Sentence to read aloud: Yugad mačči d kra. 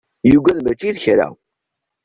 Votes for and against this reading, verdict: 2, 1, accepted